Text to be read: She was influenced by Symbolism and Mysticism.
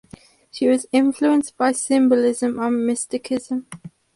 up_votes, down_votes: 0, 4